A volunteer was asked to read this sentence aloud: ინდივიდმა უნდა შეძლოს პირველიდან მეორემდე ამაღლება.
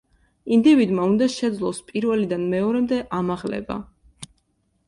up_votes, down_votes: 2, 0